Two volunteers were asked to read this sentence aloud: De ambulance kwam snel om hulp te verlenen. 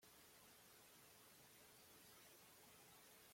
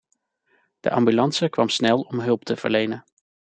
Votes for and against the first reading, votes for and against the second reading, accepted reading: 0, 2, 2, 0, second